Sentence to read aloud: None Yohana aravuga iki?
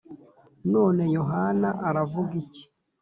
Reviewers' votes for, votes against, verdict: 2, 0, accepted